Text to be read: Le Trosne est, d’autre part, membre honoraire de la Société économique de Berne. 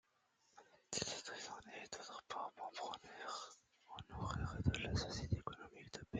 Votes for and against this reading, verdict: 0, 2, rejected